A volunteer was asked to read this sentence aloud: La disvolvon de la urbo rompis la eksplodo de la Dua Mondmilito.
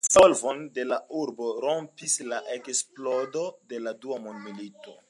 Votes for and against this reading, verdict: 2, 1, accepted